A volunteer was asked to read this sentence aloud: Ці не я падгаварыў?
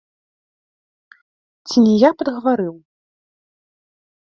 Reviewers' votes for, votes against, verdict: 0, 2, rejected